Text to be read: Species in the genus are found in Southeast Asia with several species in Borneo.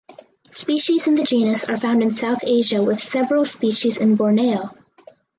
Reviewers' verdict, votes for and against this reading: rejected, 0, 4